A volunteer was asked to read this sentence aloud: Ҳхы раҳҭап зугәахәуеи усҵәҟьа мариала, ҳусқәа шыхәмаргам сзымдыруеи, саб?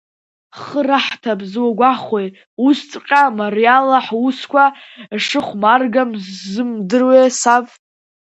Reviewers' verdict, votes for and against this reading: rejected, 0, 2